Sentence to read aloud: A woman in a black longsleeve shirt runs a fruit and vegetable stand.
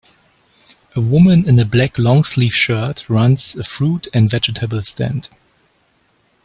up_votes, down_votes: 2, 0